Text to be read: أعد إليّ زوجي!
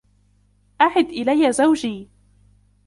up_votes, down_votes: 2, 1